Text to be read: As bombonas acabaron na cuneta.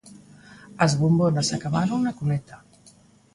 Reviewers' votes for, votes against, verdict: 2, 0, accepted